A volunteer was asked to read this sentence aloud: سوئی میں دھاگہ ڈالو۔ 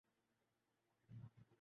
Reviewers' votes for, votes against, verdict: 2, 2, rejected